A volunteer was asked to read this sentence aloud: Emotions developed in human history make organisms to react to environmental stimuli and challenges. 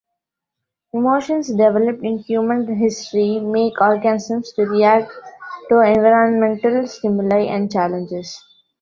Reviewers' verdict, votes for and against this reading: rejected, 1, 2